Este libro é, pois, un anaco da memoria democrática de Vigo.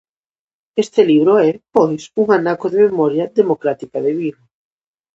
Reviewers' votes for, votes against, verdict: 0, 2, rejected